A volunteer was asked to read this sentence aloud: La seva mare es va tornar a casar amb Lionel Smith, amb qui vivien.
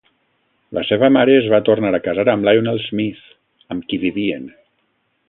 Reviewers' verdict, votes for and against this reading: accepted, 2, 0